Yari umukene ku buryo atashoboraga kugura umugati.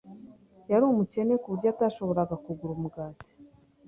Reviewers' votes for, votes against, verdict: 2, 0, accepted